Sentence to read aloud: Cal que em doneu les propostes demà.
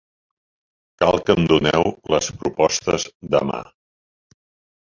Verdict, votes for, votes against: rejected, 1, 3